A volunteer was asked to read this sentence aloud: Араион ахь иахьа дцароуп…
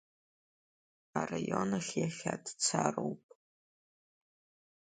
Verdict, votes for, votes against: accepted, 2, 1